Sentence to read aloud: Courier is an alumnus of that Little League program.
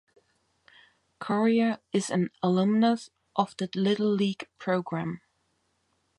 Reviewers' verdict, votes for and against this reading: rejected, 0, 2